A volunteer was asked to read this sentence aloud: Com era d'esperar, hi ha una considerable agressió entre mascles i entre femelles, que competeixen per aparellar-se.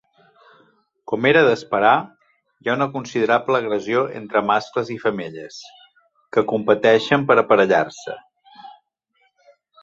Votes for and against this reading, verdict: 3, 2, accepted